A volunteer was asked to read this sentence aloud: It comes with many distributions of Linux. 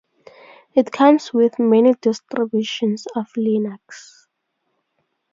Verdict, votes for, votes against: rejected, 2, 2